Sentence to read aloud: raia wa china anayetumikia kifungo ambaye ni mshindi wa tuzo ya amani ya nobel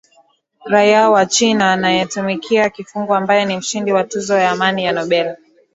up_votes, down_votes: 12, 0